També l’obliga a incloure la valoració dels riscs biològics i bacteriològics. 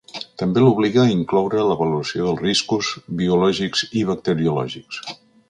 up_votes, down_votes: 0, 2